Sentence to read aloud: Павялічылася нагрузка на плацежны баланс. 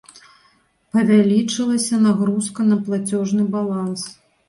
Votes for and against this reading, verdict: 2, 0, accepted